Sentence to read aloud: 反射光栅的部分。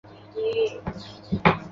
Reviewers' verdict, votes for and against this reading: rejected, 0, 3